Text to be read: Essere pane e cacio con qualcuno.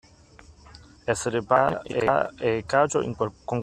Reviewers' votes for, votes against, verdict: 0, 2, rejected